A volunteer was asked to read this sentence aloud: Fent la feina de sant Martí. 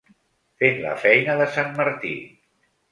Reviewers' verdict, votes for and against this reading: accepted, 3, 0